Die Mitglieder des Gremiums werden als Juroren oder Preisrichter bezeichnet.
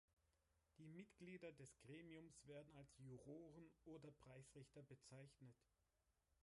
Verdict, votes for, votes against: rejected, 1, 3